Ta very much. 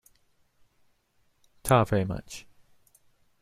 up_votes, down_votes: 2, 0